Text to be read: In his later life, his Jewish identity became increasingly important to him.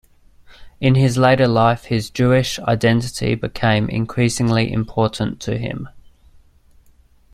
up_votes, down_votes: 2, 0